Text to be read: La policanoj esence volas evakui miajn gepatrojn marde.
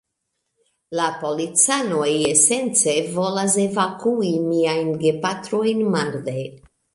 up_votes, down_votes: 2, 0